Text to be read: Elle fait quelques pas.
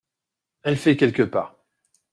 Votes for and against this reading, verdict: 2, 0, accepted